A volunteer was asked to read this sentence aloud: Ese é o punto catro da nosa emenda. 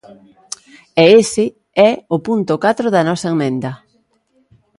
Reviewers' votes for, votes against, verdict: 0, 2, rejected